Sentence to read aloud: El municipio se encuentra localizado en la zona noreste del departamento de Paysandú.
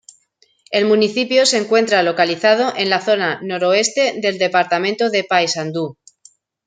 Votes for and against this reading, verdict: 0, 2, rejected